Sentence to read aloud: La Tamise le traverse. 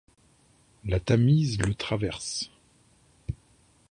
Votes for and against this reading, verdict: 2, 0, accepted